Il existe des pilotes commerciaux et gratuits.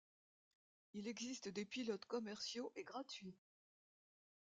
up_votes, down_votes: 3, 0